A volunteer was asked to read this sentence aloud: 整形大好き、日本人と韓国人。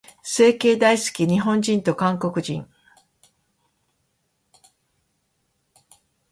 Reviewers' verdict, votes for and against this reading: accepted, 2, 1